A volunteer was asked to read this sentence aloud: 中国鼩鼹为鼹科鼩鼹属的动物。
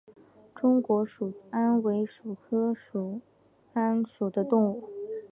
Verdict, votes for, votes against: rejected, 0, 4